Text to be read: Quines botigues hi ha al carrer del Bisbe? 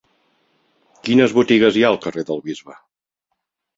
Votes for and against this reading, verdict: 3, 0, accepted